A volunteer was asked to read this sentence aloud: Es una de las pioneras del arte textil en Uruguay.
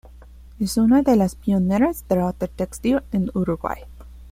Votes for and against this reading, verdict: 2, 0, accepted